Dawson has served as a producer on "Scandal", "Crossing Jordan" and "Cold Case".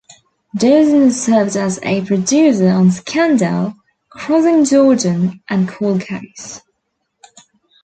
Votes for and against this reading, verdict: 1, 2, rejected